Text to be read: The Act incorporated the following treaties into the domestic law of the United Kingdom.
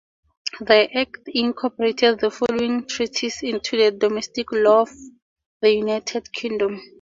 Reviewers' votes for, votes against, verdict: 2, 0, accepted